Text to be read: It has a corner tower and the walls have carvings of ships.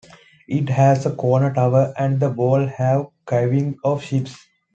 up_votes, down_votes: 2, 1